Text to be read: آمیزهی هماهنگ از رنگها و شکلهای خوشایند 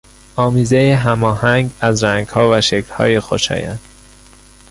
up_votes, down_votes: 2, 0